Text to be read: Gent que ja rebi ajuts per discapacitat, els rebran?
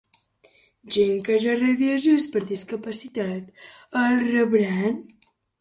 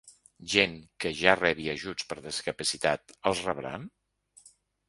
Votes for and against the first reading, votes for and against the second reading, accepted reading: 1, 2, 2, 0, second